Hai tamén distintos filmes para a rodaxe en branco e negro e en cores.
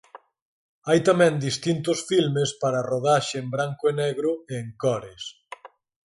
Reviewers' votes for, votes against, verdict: 4, 0, accepted